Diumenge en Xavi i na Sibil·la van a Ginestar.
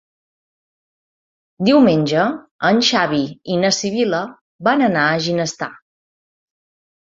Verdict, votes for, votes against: rejected, 1, 2